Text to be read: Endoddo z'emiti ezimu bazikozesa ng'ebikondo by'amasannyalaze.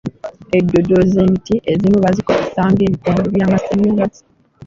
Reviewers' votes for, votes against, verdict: 2, 0, accepted